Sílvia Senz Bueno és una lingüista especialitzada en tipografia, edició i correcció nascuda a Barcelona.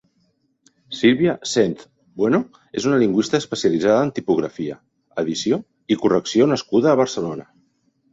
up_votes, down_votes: 2, 0